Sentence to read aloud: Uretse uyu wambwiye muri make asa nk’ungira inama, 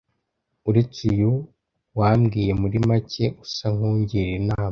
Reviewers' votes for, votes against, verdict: 2, 1, accepted